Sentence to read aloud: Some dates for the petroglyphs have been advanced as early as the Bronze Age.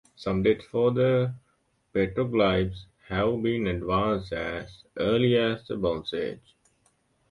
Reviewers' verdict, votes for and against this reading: accepted, 2, 0